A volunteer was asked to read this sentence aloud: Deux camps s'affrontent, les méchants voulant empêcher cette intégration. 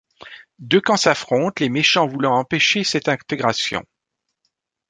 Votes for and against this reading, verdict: 2, 0, accepted